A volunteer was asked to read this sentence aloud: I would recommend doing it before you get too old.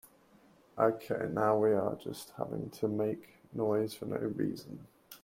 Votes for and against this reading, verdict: 0, 2, rejected